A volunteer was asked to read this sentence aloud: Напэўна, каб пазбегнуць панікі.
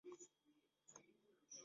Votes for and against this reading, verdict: 0, 2, rejected